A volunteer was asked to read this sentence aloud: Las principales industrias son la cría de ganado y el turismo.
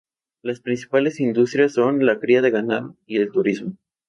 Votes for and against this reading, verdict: 0, 2, rejected